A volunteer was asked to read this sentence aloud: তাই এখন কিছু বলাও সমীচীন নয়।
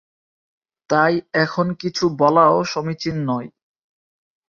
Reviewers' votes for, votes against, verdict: 3, 0, accepted